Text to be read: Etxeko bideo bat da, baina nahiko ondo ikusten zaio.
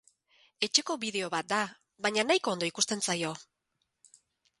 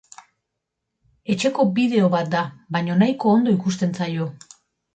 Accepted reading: first